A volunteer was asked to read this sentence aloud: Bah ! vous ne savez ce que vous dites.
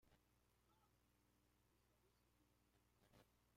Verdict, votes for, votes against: rejected, 0, 2